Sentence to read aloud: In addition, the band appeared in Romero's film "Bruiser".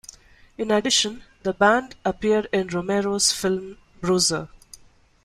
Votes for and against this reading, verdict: 2, 0, accepted